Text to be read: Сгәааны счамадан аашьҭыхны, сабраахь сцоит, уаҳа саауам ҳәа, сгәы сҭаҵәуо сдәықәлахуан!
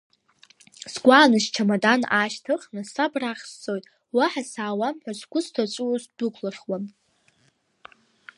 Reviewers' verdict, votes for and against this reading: accepted, 2, 1